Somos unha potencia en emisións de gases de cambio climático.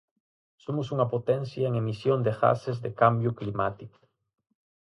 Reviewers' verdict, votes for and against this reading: rejected, 2, 4